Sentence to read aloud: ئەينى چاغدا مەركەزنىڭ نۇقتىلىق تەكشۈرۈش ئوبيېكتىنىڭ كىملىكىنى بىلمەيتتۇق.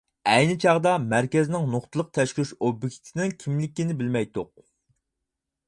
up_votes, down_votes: 0, 4